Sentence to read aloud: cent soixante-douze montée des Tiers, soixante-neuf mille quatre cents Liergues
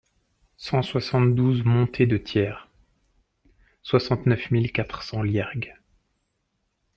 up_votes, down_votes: 0, 2